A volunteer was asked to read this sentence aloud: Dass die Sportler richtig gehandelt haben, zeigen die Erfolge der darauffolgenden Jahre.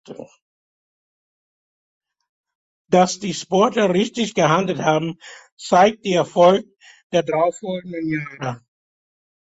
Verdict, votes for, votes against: rejected, 0, 2